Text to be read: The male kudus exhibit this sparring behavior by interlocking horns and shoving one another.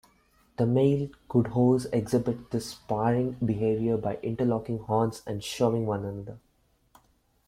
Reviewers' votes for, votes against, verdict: 2, 0, accepted